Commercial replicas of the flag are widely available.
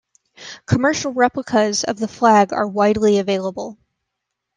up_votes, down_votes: 2, 0